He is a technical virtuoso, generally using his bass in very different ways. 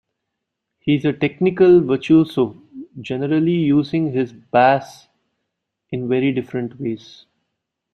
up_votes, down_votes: 1, 2